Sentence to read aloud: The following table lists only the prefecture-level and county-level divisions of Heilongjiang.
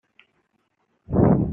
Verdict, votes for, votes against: rejected, 0, 2